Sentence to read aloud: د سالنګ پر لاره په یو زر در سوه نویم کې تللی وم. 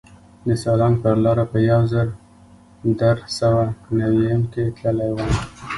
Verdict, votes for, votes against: rejected, 0, 2